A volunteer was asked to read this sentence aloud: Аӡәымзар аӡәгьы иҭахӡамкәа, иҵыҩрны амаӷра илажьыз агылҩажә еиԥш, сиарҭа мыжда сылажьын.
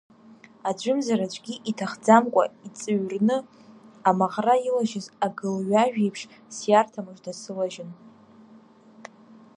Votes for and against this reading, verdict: 2, 0, accepted